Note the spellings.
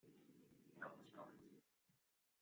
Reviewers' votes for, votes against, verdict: 1, 2, rejected